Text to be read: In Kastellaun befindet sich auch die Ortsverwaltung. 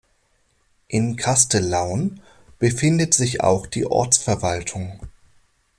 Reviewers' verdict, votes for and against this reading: accepted, 2, 0